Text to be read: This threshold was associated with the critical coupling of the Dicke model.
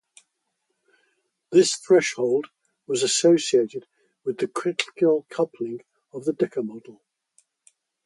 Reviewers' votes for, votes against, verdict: 0, 2, rejected